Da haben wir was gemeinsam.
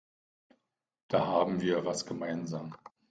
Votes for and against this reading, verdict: 2, 0, accepted